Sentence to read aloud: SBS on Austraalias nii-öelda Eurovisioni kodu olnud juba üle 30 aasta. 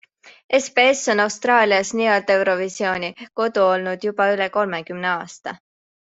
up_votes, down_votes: 0, 2